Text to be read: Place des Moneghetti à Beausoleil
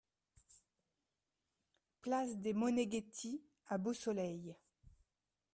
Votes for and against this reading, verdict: 2, 0, accepted